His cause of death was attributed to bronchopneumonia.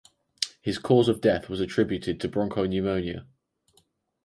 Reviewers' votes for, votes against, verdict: 2, 2, rejected